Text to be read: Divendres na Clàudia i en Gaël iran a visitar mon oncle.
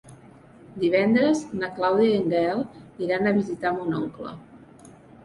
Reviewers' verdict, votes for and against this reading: accepted, 3, 0